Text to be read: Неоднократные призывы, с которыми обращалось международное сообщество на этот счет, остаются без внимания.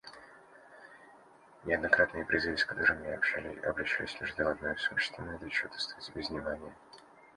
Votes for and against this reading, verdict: 1, 2, rejected